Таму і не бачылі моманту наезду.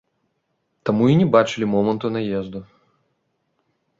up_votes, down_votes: 2, 0